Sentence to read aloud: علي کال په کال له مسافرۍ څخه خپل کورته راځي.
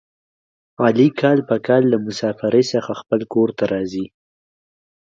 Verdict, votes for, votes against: accepted, 2, 0